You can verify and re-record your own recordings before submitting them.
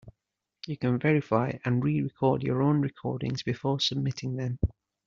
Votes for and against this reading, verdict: 2, 0, accepted